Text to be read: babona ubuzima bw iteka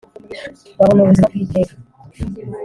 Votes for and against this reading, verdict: 1, 2, rejected